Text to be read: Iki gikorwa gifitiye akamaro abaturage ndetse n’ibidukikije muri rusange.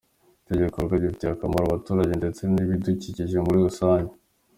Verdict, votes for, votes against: rejected, 0, 2